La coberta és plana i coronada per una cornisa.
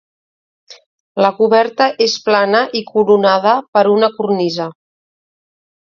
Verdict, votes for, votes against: accepted, 2, 0